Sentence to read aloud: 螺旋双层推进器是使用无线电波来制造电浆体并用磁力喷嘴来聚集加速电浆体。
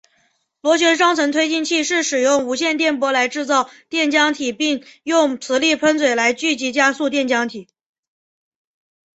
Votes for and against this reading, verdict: 2, 0, accepted